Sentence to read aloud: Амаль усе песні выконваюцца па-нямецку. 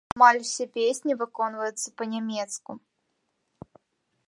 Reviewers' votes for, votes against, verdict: 1, 2, rejected